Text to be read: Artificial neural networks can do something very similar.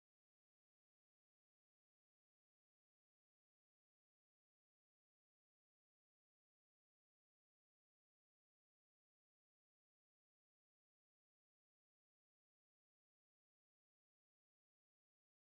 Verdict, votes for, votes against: rejected, 0, 2